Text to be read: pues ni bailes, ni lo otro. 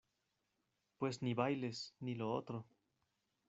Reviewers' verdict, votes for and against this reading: rejected, 0, 2